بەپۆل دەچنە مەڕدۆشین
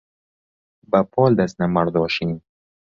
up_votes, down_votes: 2, 0